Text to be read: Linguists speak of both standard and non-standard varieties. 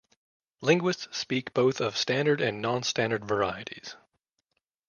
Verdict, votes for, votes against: rejected, 1, 2